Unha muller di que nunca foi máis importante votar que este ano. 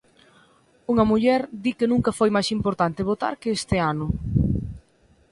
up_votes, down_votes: 3, 0